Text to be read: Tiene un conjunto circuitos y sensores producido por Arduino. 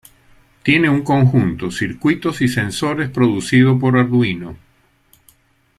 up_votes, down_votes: 2, 0